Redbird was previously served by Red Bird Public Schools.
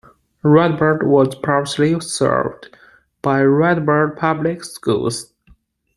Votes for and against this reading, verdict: 0, 2, rejected